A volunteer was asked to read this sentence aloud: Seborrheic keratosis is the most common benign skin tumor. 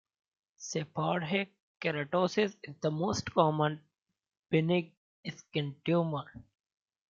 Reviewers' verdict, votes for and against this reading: rejected, 0, 2